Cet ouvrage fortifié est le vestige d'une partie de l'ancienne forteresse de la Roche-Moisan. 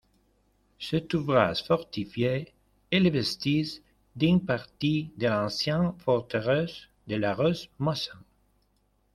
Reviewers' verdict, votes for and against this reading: rejected, 0, 2